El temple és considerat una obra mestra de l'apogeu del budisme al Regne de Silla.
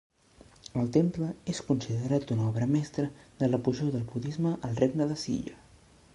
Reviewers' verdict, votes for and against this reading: accepted, 2, 0